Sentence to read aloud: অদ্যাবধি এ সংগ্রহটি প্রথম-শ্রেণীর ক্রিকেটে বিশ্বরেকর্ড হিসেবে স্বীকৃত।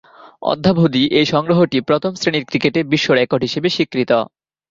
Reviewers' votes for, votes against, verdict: 12, 0, accepted